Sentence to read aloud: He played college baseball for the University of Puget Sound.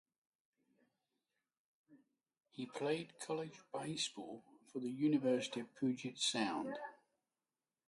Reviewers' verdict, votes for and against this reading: rejected, 3, 6